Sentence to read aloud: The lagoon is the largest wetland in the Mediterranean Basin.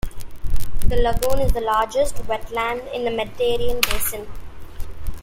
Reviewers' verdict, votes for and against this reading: accepted, 2, 0